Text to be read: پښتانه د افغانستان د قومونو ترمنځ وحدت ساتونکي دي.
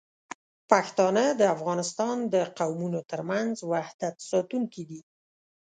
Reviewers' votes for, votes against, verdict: 2, 0, accepted